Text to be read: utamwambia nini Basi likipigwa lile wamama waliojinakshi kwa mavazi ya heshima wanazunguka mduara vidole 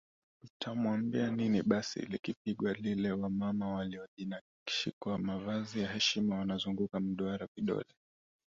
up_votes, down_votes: 1, 2